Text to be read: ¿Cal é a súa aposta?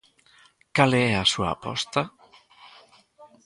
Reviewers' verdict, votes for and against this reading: rejected, 1, 2